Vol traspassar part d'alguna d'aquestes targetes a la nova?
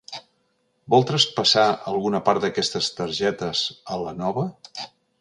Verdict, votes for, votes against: rejected, 1, 2